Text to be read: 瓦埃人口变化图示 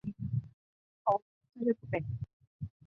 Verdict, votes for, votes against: rejected, 1, 2